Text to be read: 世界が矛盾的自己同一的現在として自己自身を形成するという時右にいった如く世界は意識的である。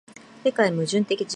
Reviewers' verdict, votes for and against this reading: rejected, 0, 2